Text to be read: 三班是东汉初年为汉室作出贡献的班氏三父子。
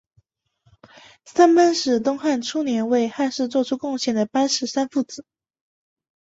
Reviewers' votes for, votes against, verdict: 2, 0, accepted